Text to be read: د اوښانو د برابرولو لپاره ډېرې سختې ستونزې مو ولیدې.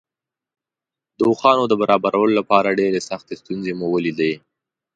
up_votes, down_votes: 2, 0